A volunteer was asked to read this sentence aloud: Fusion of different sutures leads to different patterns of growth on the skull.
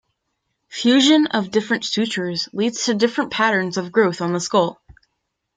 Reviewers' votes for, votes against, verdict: 2, 0, accepted